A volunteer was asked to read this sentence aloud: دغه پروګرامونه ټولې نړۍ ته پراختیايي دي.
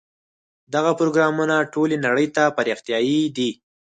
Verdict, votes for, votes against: accepted, 4, 0